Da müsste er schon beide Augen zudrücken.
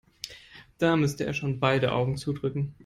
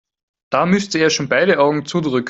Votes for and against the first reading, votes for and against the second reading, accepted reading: 2, 0, 2, 4, first